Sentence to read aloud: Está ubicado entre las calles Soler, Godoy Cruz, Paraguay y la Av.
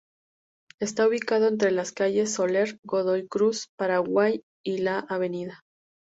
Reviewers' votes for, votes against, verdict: 2, 0, accepted